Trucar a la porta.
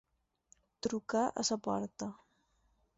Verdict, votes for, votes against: rejected, 2, 4